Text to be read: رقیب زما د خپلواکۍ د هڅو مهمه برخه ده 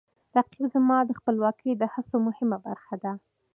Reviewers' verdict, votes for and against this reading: rejected, 0, 2